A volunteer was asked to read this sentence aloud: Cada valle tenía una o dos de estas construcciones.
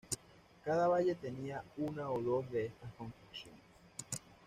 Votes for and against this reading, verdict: 2, 0, accepted